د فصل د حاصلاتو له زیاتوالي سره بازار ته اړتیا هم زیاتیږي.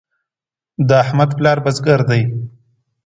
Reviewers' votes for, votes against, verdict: 0, 2, rejected